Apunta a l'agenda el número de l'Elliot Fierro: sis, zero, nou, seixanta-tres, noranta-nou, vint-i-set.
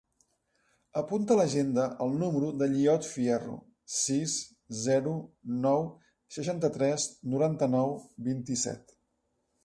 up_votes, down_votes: 1, 2